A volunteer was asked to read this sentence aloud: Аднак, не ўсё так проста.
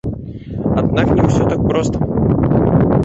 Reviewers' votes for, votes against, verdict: 0, 2, rejected